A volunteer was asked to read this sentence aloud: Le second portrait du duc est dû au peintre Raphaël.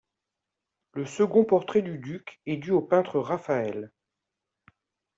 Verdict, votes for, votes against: accepted, 2, 0